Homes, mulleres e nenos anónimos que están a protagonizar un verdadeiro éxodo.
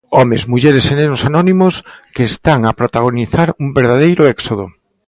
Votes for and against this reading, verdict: 2, 0, accepted